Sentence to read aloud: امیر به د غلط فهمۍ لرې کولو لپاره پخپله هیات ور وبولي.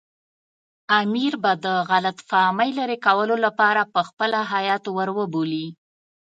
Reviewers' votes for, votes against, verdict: 2, 0, accepted